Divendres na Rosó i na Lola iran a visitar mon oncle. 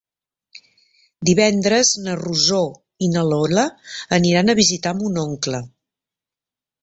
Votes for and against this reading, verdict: 1, 2, rejected